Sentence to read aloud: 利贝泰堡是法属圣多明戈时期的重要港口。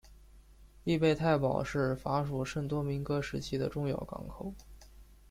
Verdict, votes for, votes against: accepted, 3, 0